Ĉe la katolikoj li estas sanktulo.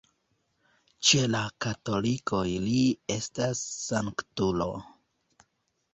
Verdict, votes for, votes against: rejected, 1, 2